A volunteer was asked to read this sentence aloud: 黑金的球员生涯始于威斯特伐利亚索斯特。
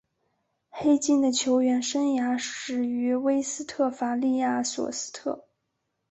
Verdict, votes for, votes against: accepted, 2, 1